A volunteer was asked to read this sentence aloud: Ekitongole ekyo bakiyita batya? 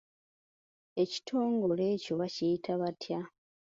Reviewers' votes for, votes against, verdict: 2, 0, accepted